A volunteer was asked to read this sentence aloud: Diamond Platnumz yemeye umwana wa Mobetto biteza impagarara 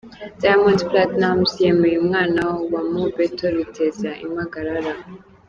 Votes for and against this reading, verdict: 2, 0, accepted